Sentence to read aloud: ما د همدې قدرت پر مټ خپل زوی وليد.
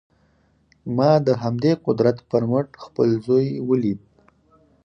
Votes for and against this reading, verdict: 4, 2, accepted